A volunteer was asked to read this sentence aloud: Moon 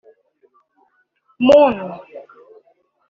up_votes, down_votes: 0, 2